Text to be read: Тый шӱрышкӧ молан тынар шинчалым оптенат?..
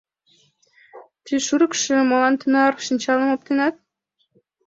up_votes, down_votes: 1, 5